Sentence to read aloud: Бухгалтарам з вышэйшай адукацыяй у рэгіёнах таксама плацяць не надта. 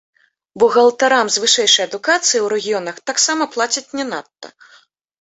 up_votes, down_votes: 2, 0